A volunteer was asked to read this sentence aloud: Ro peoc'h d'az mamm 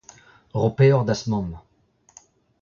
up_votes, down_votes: 1, 2